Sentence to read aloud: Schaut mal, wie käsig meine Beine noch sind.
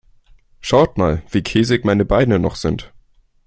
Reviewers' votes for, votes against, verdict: 2, 0, accepted